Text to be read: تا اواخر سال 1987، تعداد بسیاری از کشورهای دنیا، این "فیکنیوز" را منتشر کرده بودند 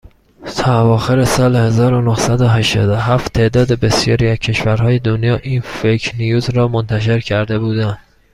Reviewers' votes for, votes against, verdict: 0, 2, rejected